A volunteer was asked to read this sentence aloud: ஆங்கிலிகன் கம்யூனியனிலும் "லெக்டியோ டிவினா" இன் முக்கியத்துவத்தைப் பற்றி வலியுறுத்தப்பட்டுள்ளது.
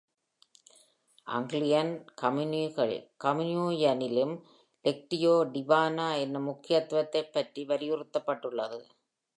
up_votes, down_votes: 0, 2